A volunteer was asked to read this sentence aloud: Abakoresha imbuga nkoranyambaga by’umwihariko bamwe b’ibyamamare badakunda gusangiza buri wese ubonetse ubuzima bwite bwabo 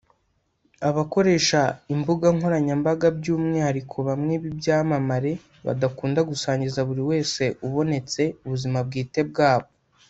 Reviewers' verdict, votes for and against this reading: accepted, 2, 0